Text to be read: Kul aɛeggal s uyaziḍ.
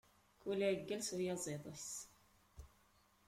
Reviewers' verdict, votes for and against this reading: rejected, 0, 2